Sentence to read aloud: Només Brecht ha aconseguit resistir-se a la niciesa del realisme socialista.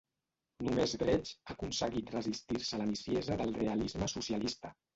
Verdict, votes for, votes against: rejected, 1, 2